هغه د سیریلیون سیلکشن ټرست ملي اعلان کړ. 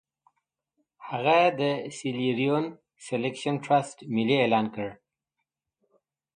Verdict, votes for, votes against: accepted, 2, 0